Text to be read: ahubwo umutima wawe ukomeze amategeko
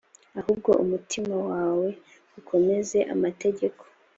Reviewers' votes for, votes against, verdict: 2, 0, accepted